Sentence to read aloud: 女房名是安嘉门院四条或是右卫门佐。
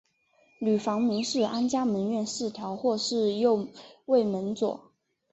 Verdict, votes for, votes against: accepted, 3, 0